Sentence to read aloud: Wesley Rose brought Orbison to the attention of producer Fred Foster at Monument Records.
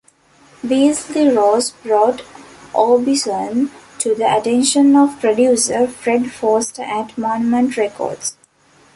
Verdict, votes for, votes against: rejected, 0, 2